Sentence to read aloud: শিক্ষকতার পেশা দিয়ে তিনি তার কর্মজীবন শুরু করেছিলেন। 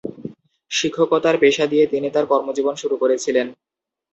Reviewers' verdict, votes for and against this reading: rejected, 2, 2